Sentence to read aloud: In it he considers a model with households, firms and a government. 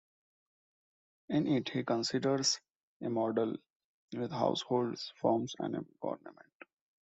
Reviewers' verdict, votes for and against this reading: accepted, 2, 0